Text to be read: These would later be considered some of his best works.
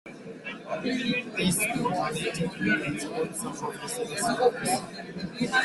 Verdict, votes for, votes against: rejected, 0, 2